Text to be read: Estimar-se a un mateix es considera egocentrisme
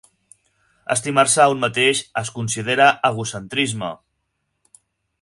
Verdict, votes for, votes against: accepted, 6, 0